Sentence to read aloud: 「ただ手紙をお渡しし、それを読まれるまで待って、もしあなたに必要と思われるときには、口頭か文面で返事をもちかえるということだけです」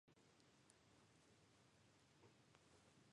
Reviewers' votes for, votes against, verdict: 0, 2, rejected